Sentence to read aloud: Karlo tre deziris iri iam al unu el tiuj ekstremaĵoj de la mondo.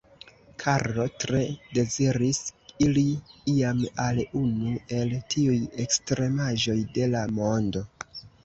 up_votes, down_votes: 2, 1